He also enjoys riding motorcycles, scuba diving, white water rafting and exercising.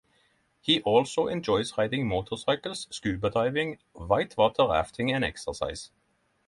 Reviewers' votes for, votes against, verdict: 3, 6, rejected